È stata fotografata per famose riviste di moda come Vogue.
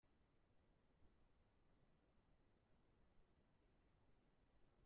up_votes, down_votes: 0, 2